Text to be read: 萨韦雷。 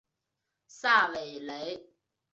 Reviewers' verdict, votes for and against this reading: accepted, 2, 0